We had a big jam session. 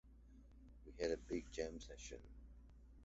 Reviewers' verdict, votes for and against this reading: rejected, 1, 2